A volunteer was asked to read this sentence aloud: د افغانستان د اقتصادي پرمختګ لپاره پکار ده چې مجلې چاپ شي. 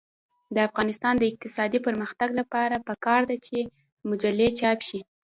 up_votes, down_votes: 1, 2